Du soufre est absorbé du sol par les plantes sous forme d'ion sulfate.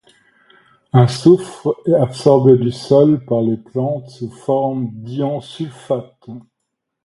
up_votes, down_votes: 1, 2